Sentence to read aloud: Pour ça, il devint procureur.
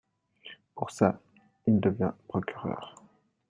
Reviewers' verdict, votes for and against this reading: accepted, 2, 0